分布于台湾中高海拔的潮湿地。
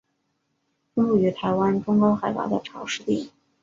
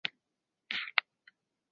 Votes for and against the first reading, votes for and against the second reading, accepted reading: 3, 1, 1, 4, first